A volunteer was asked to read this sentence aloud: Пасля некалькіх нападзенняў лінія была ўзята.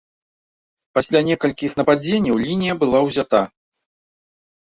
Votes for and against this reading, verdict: 0, 2, rejected